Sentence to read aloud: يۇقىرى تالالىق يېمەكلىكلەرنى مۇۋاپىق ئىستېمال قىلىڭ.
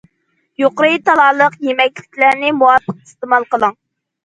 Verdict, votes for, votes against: accepted, 2, 0